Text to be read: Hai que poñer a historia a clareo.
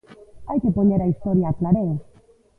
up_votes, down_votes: 1, 2